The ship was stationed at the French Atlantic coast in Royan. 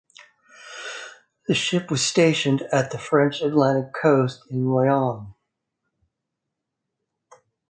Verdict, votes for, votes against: rejected, 0, 2